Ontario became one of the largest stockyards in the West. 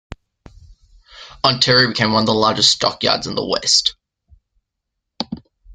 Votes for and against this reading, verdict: 2, 0, accepted